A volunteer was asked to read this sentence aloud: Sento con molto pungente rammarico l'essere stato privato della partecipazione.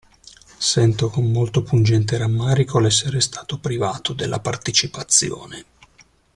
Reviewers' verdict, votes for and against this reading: accepted, 2, 0